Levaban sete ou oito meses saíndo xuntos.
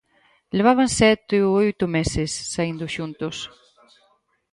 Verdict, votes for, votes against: accepted, 4, 0